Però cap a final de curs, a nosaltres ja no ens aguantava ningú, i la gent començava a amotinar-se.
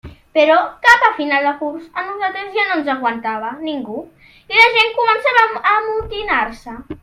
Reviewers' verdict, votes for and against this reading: accepted, 2, 1